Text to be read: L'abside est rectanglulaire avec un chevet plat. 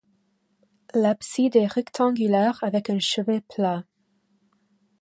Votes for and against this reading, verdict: 2, 0, accepted